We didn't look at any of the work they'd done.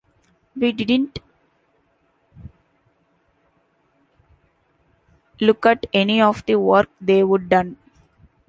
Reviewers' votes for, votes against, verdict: 1, 2, rejected